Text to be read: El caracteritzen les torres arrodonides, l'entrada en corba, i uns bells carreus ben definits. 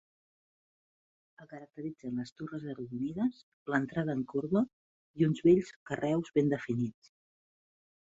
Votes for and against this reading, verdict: 1, 2, rejected